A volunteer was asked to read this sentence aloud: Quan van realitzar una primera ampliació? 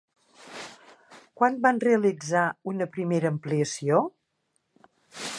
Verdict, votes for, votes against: accepted, 4, 0